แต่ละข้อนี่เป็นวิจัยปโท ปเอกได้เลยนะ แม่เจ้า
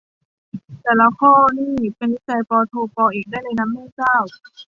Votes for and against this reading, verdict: 2, 0, accepted